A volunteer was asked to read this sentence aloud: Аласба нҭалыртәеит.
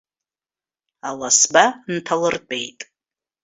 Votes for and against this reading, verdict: 2, 0, accepted